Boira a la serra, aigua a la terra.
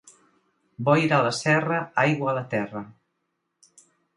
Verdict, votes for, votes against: accepted, 2, 0